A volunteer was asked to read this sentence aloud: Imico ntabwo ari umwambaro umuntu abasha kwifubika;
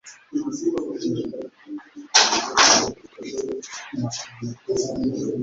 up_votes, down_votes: 0, 2